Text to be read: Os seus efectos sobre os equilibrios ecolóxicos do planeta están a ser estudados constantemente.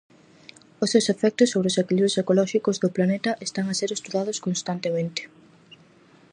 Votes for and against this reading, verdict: 4, 0, accepted